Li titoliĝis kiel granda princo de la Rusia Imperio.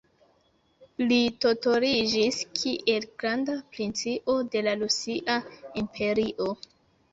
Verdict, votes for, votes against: rejected, 1, 2